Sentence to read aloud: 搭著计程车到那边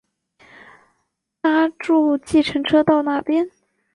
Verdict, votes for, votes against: accepted, 4, 0